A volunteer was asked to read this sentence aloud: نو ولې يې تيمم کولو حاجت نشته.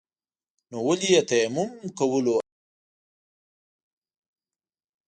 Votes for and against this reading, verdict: 1, 2, rejected